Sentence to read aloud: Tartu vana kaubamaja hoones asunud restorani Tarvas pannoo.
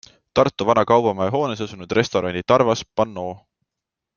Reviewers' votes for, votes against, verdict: 2, 0, accepted